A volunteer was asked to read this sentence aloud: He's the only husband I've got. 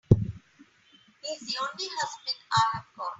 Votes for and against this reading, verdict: 3, 4, rejected